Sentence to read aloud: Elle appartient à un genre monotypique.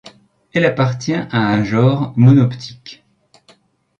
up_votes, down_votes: 1, 2